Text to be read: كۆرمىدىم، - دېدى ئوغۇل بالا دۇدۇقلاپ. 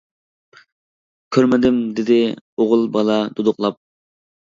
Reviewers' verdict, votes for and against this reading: accepted, 2, 0